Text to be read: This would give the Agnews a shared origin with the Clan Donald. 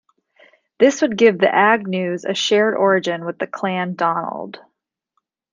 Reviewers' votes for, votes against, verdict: 2, 0, accepted